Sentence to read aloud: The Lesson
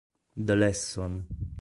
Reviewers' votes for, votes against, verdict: 2, 0, accepted